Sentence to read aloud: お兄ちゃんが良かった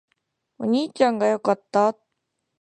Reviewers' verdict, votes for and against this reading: accepted, 2, 0